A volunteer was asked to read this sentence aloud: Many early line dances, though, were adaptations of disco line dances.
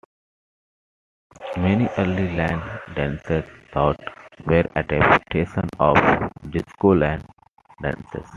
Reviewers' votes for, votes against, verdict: 2, 1, accepted